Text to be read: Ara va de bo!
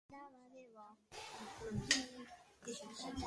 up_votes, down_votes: 1, 2